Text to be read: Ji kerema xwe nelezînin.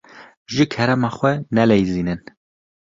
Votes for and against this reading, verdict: 1, 2, rejected